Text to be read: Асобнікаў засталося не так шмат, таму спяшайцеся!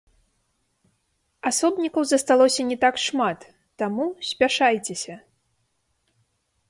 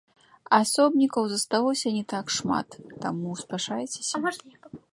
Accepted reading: second